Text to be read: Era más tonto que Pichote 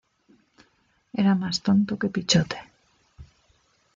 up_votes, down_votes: 2, 1